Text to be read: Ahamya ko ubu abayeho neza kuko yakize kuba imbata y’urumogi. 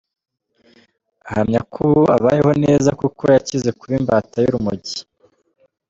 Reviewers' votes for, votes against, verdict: 1, 2, rejected